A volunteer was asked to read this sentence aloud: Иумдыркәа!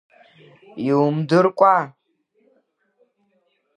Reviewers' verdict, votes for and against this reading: accepted, 2, 1